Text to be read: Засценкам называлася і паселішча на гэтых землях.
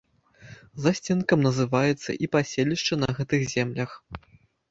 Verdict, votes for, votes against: rejected, 1, 2